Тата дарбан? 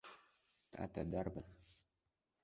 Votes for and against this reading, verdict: 2, 1, accepted